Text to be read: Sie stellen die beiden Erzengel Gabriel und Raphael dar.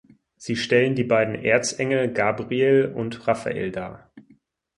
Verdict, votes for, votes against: accepted, 4, 0